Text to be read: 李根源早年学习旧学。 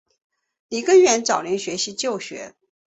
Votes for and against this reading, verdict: 3, 0, accepted